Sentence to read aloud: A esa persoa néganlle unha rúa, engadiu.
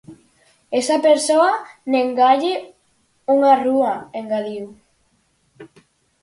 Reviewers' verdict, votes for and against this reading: rejected, 0, 4